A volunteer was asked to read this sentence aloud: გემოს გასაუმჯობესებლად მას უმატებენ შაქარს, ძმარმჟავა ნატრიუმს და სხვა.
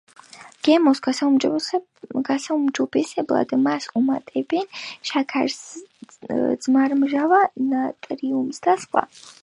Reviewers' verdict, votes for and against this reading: accepted, 2, 0